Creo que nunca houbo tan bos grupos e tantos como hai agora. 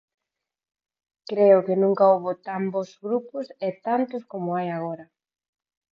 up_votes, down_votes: 4, 0